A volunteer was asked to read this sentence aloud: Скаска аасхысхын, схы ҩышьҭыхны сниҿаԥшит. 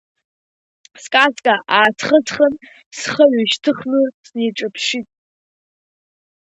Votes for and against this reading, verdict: 2, 0, accepted